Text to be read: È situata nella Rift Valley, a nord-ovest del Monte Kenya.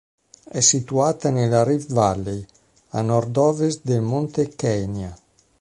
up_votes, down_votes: 2, 0